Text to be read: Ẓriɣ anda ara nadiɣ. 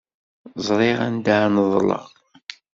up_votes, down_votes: 1, 2